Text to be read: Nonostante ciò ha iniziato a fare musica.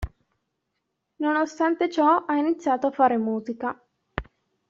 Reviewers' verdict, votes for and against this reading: accepted, 2, 0